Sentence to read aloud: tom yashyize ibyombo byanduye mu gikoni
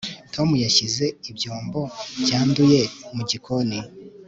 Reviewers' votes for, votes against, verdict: 3, 0, accepted